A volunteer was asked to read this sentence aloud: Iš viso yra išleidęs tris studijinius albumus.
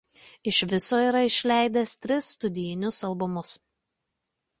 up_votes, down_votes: 2, 0